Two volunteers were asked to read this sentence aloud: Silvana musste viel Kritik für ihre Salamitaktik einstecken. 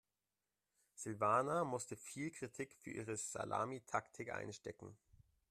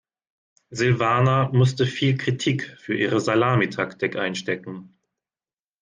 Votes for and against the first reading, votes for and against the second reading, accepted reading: 0, 2, 2, 0, second